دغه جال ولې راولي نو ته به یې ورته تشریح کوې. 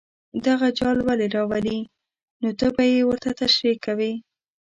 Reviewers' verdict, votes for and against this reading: accepted, 2, 0